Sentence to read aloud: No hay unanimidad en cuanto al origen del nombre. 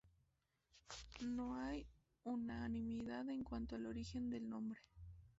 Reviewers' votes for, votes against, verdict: 2, 0, accepted